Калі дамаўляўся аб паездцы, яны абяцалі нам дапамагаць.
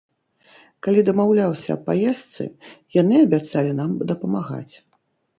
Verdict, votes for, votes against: rejected, 0, 2